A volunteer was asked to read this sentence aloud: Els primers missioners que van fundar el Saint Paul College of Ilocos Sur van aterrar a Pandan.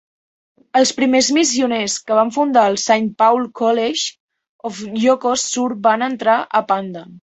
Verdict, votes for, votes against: rejected, 1, 2